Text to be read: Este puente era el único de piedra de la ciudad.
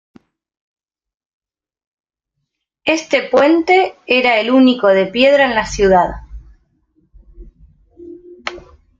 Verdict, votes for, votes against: rejected, 1, 2